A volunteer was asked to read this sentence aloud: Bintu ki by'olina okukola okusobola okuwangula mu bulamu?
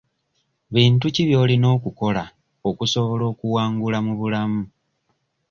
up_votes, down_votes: 2, 0